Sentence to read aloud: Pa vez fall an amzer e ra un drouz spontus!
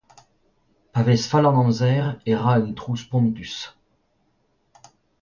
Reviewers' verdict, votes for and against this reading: accepted, 2, 0